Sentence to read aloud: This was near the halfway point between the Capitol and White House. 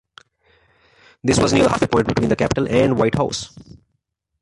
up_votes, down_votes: 0, 2